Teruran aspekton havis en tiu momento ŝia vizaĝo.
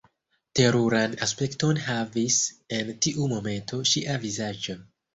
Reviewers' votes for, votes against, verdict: 2, 0, accepted